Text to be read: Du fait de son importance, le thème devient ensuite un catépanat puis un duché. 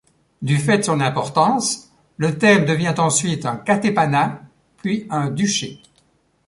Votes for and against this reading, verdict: 2, 0, accepted